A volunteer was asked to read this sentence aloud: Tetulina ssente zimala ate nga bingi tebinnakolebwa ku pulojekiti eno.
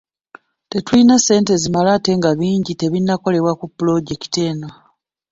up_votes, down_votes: 1, 2